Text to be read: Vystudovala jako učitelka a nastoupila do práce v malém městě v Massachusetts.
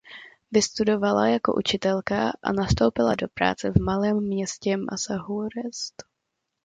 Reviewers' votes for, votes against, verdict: 0, 2, rejected